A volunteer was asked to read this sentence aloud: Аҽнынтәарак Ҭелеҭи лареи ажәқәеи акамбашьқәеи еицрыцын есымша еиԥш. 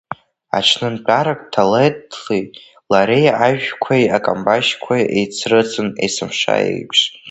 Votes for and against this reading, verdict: 2, 1, accepted